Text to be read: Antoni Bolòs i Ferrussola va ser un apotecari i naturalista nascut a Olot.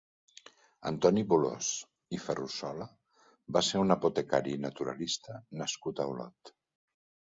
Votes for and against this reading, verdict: 1, 2, rejected